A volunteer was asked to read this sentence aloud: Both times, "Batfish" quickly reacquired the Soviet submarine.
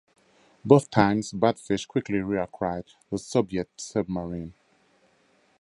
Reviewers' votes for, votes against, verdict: 2, 0, accepted